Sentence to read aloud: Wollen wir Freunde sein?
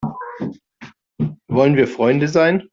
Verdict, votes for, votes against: accepted, 2, 0